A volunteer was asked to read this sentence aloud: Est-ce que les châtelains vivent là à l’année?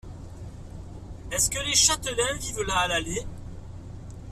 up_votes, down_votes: 2, 0